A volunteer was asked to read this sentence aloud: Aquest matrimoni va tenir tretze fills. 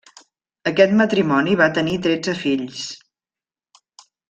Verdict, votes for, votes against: accepted, 3, 0